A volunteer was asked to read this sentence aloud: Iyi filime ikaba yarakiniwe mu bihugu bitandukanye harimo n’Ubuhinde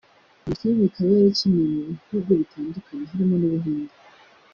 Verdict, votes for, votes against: accepted, 2, 0